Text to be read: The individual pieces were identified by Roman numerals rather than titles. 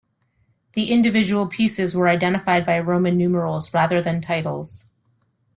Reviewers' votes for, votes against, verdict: 2, 0, accepted